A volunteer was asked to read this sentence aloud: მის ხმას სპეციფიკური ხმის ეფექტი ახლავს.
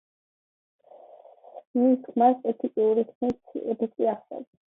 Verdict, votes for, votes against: accepted, 2, 1